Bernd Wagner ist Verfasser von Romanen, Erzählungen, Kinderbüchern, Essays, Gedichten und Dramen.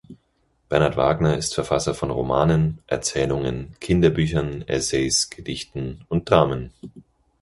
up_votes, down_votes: 0, 4